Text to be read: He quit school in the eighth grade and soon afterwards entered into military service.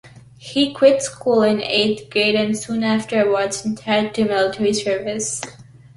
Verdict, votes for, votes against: accepted, 2, 0